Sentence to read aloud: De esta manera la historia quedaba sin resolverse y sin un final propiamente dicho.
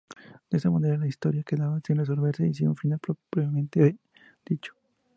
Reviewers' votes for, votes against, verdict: 0, 2, rejected